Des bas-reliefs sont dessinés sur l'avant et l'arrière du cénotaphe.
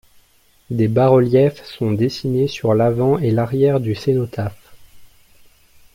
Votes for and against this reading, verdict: 2, 0, accepted